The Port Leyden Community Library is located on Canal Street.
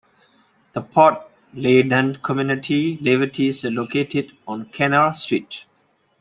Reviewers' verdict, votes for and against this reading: rejected, 0, 2